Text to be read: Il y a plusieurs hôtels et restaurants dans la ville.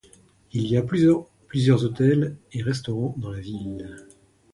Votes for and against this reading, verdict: 1, 2, rejected